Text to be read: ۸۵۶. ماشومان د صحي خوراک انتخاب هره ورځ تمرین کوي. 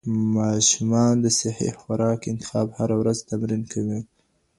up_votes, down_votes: 0, 2